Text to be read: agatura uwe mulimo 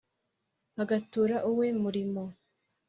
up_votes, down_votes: 3, 0